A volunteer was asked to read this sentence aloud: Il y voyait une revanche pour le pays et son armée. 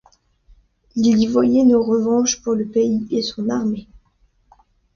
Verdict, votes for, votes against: accepted, 2, 1